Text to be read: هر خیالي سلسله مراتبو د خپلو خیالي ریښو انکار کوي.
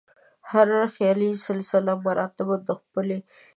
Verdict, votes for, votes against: rejected, 1, 2